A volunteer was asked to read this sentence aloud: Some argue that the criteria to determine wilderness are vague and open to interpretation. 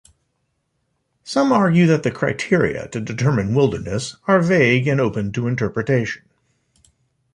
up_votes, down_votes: 2, 0